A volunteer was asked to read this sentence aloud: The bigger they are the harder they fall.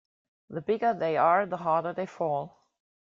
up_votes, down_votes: 2, 0